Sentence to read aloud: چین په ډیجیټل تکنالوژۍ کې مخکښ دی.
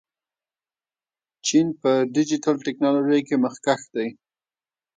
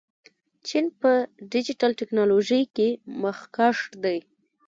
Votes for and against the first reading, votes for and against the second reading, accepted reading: 2, 1, 1, 2, first